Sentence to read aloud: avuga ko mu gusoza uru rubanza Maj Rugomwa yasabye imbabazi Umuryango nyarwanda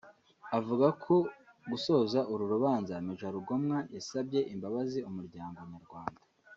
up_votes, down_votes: 1, 2